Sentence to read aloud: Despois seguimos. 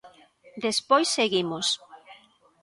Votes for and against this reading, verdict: 1, 2, rejected